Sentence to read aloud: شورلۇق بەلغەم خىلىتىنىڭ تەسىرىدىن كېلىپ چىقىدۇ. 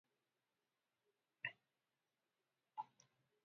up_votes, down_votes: 0, 2